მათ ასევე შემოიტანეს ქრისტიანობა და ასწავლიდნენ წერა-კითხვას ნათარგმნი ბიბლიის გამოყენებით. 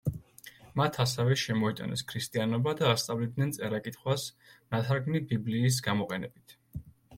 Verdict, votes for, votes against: accepted, 2, 0